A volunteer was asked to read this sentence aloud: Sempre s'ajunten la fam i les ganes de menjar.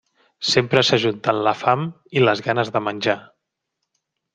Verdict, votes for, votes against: accepted, 3, 0